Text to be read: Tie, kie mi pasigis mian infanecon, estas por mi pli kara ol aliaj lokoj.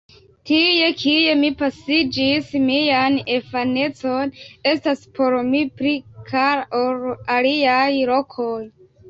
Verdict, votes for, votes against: rejected, 0, 2